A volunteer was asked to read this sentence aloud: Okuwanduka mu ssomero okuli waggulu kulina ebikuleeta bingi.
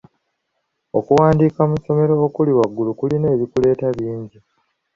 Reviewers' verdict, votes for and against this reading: accepted, 3, 0